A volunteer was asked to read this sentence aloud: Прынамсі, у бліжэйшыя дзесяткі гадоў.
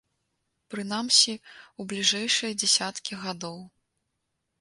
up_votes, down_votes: 2, 0